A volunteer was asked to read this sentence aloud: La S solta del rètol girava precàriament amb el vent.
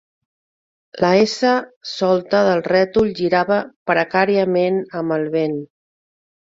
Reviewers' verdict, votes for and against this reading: accepted, 5, 0